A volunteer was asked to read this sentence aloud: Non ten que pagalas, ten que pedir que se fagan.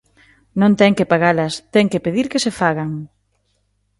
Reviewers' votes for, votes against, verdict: 2, 0, accepted